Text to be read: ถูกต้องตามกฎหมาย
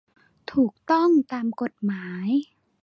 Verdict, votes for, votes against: accepted, 2, 0